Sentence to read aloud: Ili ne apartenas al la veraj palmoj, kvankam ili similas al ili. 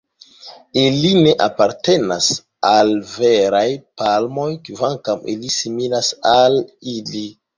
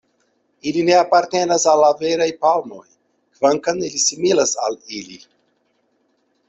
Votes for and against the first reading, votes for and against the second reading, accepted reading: 0, 2, 2, 0, second